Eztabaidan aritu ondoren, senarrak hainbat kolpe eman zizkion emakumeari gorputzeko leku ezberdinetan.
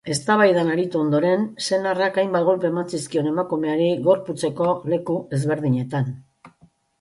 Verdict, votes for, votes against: accepted, 2, 0